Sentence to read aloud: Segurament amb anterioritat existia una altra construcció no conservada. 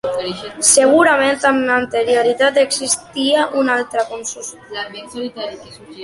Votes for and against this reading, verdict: 0, 2, rejected